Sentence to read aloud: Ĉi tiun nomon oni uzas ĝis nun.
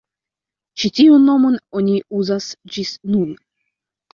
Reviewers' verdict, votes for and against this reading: accepted, 2, 0